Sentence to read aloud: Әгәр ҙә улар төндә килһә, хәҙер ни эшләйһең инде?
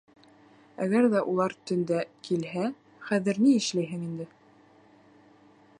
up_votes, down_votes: 2, 0